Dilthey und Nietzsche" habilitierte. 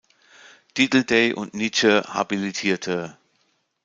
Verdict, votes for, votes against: rejected, 0, 2